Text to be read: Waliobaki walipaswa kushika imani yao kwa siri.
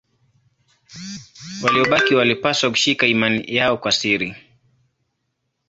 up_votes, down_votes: 0, 2